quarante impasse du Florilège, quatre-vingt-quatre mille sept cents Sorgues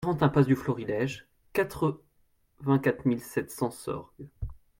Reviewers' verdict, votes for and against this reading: rejected, 0, 2